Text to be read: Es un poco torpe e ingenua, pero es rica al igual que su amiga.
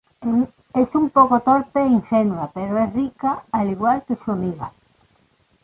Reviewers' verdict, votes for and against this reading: rejected, 0, 2